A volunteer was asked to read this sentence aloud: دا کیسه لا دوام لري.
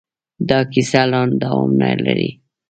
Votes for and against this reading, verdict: 2, 0, accepted